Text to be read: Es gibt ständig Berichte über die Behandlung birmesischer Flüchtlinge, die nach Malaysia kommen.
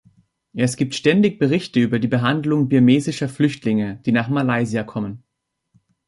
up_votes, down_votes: 2, 1